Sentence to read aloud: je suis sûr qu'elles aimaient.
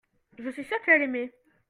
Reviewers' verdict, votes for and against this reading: rejected, 0, 2